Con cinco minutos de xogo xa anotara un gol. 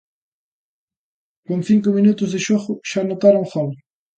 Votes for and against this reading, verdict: 2, 1, accepted